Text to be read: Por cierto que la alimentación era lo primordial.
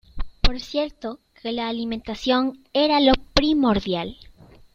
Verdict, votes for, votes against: accepted, 2, 0